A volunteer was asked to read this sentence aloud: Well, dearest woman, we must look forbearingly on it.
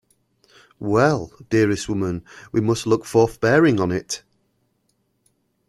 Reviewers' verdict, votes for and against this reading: accepted, 2, 1